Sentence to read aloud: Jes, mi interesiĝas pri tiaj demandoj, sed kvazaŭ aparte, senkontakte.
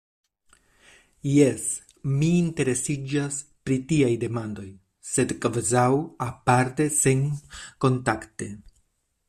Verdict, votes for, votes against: rejected, 1, 2